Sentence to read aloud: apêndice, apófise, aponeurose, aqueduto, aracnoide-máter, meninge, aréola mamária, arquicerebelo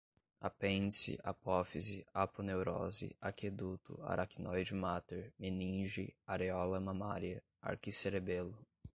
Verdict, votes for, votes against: accepted, 2, 0